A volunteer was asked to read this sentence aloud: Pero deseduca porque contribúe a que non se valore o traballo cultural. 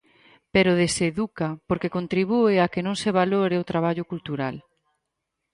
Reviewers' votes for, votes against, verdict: 4, 0, accepted